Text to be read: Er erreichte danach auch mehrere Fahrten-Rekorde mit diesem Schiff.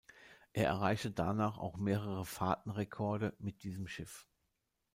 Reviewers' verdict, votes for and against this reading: accepted, 2, 0